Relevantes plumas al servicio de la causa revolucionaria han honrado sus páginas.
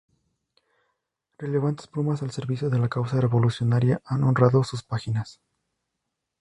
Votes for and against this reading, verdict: 0, 2, rejected